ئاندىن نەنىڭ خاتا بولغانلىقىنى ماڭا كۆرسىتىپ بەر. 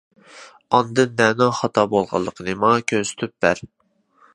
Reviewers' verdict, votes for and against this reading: accepted, 2, 0